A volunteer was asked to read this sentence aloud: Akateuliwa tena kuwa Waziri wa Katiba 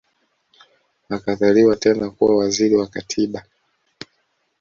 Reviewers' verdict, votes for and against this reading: rejected, 1, 2